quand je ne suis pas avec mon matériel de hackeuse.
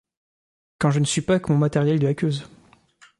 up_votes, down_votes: 0, 2